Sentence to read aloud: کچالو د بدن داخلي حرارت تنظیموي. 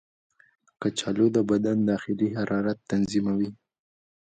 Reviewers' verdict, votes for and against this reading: accepted, 2, 1